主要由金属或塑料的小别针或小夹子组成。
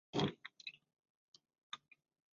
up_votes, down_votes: 0, 7